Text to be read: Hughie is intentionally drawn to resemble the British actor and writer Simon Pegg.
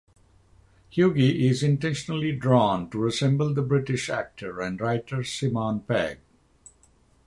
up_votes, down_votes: 9, 6